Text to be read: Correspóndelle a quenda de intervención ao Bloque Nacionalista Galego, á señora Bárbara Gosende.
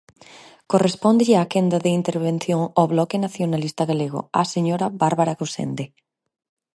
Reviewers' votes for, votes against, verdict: 4, 0, accepted